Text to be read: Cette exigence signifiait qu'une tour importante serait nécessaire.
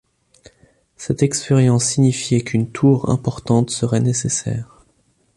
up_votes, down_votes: 0, 2